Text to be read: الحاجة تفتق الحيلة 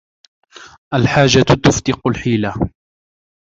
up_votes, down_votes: 2, 0